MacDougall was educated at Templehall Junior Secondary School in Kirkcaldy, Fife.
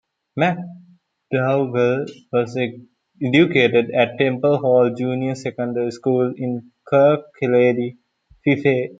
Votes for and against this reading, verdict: 0, 2, rejected